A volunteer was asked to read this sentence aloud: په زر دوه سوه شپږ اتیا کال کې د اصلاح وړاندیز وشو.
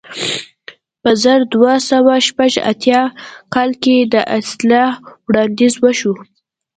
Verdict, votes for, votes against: accepted, 2, 0